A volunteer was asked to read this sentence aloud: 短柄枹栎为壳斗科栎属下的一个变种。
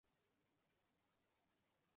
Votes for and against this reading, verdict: 0, 3, rejected